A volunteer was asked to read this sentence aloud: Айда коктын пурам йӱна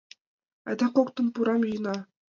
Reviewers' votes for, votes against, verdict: 2, 0, accepted